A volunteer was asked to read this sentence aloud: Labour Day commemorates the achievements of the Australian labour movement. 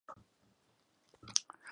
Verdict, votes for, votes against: rejected, 0, 2